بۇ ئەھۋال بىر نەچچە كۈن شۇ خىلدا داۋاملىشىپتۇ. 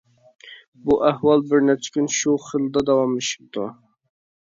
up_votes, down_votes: 2, 1